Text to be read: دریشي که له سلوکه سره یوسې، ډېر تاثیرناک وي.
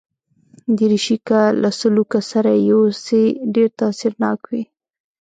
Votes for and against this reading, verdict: 1, 2, rejected